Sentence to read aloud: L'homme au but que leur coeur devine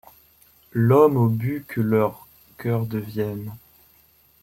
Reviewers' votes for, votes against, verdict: 0, 2, rejected